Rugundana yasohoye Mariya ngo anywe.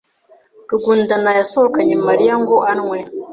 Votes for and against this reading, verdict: 1, 2, rejected